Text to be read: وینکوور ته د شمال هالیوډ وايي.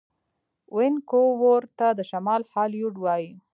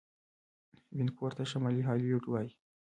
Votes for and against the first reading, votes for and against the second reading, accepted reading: 2, 0, 1, 2, first